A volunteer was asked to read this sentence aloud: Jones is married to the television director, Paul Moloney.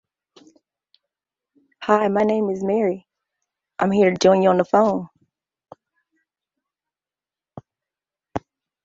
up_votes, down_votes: 0, 2